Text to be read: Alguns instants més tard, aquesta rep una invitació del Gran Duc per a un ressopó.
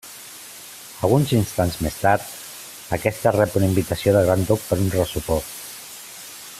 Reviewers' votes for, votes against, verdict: 2, 0, accepted